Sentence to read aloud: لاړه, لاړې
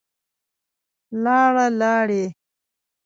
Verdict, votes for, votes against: rejected, 1, 2